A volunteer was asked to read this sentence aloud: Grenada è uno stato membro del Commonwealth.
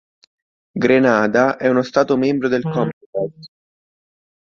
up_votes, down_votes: 1, 2